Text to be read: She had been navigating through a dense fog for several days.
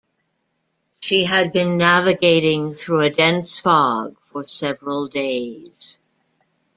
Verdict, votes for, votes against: accepted, 2, 0